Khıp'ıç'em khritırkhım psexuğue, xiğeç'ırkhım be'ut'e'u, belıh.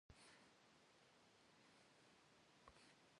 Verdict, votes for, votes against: rejected, 1, 2